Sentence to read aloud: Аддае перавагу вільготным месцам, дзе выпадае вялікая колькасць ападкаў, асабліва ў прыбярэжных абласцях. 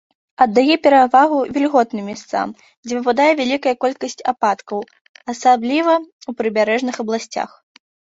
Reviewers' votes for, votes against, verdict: 1, 2, rejected